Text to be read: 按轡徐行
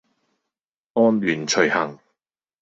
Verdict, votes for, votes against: accepted, 2, 0